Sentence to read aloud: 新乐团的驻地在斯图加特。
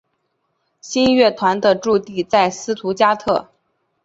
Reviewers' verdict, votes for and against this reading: accepted, 2, 0